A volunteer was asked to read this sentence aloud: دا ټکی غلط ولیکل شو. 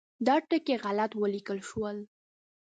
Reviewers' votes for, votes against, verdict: 1, 2, rejected